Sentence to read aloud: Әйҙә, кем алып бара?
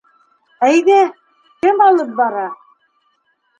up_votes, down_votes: 0, 2